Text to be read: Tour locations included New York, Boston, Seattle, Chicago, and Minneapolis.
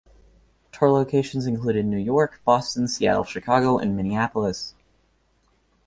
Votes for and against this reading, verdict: 2, 0, accepted